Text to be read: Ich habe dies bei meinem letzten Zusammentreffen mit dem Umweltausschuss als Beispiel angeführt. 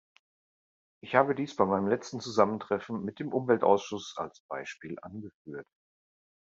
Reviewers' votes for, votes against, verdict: 2, 0, accepted